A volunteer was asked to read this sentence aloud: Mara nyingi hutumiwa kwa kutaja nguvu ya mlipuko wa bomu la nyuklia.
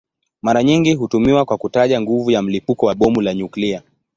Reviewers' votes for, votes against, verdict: 4, 2, accepted